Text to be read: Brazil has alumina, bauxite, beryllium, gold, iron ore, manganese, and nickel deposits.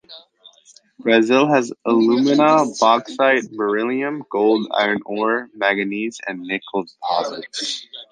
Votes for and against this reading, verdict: 2, 0, accepted